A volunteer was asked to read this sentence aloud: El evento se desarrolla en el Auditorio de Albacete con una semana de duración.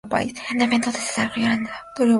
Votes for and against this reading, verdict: 0, 2, rejected